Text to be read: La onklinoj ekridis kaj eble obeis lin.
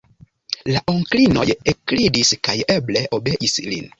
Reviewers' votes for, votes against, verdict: 2, 0, accepted